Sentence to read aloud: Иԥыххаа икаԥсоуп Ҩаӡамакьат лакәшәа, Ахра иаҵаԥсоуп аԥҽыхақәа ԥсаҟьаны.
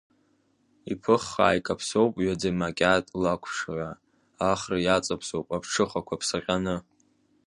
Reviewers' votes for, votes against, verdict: 1, 2, rejected